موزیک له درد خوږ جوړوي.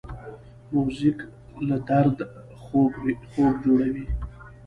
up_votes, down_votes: 1, 2